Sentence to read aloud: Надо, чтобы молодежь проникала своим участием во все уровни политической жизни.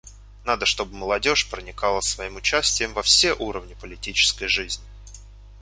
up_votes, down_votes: 1, 2